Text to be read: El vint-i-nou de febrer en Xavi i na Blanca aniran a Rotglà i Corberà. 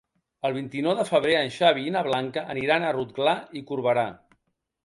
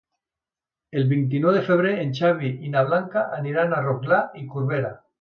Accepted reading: first